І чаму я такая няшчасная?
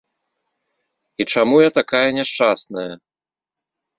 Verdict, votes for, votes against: accepted, 2, 0